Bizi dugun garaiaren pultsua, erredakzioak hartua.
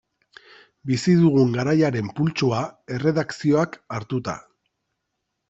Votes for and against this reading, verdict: 1, 2, rejected